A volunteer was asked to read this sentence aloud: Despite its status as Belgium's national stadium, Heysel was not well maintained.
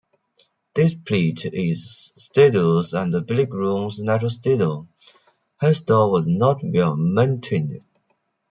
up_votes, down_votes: 0, 2